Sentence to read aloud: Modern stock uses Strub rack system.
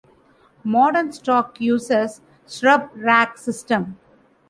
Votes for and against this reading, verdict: 2, 0, accepted